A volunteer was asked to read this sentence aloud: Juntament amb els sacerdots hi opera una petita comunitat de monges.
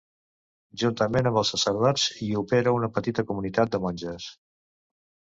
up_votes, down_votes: 2, 0